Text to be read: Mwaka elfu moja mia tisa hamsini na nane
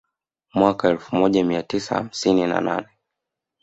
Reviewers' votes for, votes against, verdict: 2, 0, accepted